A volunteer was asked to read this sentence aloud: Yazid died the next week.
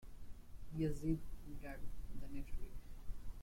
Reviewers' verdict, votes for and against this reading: accepted, 2, 0